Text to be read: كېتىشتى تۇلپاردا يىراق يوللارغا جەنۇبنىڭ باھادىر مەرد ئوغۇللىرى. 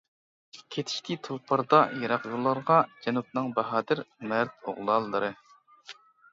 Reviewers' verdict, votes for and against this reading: rejected, 1, 2